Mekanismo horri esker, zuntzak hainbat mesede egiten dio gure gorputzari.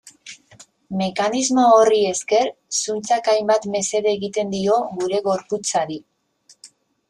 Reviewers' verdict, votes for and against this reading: accepted, 2, 0